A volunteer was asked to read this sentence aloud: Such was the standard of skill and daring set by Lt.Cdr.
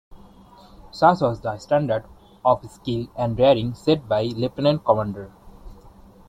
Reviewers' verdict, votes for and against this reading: accepted, 2, 0